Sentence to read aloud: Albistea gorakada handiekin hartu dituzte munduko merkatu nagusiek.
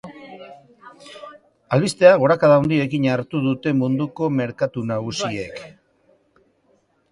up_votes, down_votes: 0, 2